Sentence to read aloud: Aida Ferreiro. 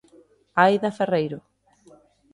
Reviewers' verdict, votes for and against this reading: accepted, 2, 0